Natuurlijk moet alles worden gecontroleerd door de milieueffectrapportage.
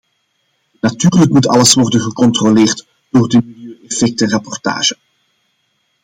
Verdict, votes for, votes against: accepted, 2, 0